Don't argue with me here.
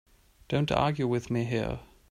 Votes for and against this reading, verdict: 4, 0, accepted